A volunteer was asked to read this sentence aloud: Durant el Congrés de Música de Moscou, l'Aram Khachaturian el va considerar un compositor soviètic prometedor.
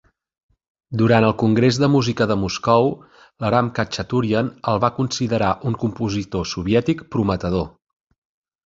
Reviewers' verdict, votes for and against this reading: accepted, 2, 0